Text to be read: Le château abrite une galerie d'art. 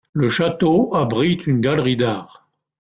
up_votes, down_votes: 1, 2